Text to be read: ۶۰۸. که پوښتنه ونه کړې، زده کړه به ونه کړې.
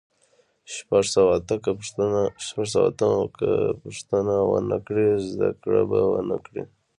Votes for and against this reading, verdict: 0, 2, rejected